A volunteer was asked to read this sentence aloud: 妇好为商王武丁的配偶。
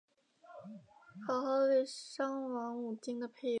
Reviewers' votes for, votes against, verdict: 0, 2, rejected